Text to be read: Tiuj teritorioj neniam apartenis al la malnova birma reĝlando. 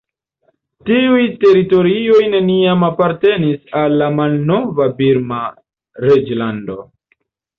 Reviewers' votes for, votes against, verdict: 0, 2, rejected